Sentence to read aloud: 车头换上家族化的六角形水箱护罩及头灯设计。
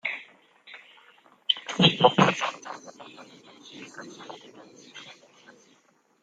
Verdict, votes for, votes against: rejected, 0, 2